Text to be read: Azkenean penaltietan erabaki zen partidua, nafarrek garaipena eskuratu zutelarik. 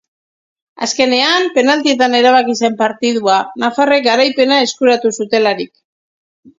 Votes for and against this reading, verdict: 2, 0, accepted